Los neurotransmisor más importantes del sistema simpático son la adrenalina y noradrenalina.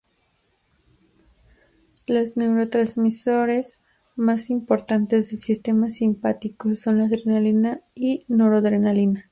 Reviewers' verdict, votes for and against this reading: rejected, 0, 2